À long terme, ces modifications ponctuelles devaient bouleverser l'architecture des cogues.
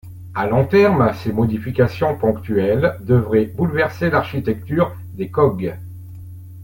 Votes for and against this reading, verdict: 0, 2, rejected